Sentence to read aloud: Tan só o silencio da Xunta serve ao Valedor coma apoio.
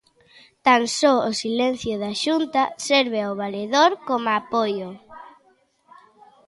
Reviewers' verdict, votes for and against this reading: rejected, 0, 2